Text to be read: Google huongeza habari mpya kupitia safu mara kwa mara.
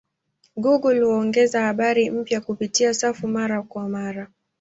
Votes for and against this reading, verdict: 2, 0, accepted